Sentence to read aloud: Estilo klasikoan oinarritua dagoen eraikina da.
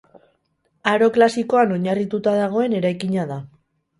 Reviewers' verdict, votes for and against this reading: rejected, 0, 2